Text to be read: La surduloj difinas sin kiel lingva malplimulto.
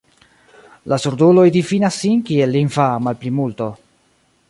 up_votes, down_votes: 2, 1